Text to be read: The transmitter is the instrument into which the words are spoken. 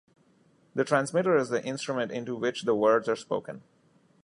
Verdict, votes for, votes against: accepted, 2, 0